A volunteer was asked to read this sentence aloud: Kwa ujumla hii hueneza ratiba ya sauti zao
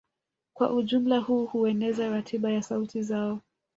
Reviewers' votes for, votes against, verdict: 1, 2, rejected